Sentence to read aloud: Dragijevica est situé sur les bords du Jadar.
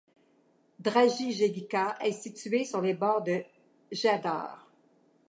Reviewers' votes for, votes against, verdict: 1, 2, rejected